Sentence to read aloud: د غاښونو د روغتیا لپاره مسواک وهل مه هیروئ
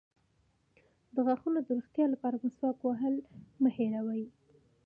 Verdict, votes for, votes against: accepted, 2, 1